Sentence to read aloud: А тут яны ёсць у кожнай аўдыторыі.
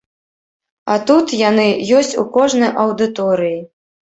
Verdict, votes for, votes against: accepted, 2, 0